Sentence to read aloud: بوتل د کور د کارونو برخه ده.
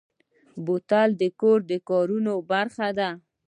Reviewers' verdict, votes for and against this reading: rejected, 1, 2